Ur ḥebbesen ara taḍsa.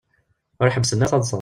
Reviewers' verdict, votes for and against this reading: rejected, 1, 2